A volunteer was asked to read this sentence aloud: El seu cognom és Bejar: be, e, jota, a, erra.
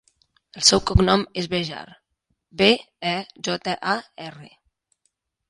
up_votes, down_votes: 1, 2